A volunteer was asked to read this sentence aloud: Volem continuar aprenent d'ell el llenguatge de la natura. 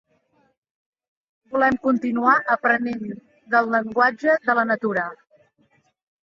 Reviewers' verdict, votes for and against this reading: rejected, 1, 2